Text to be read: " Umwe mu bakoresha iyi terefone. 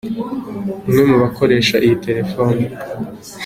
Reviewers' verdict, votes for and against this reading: accepted, 2, 0